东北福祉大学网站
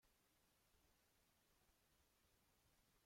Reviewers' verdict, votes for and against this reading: rejected, 0, 2